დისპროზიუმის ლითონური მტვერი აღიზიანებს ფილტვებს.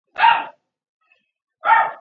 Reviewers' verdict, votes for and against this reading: rejected, 0, 2